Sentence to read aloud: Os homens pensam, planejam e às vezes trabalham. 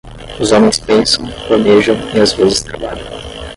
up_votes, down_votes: 5, 5